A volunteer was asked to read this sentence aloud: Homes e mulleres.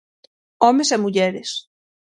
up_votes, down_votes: 6, 0